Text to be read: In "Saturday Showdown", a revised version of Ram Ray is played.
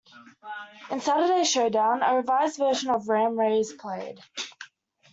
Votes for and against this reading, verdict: 2, 0, accepted